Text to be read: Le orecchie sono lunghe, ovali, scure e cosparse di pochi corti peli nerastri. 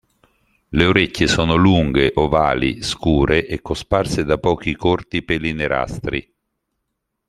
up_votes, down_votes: 0, 2